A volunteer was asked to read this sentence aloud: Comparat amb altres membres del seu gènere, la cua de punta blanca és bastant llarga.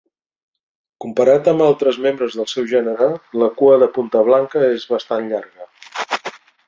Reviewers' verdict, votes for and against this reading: accepted, 3, 0